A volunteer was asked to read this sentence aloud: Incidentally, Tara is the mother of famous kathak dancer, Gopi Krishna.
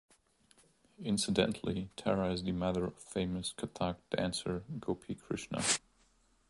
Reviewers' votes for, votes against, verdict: 2, 0, accepted